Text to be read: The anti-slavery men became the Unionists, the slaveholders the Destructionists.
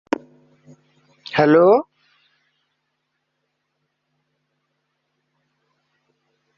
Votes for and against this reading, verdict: 0, 2, rejected